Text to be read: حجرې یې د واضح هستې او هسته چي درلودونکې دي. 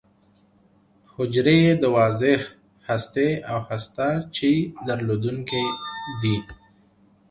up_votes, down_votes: 2, 0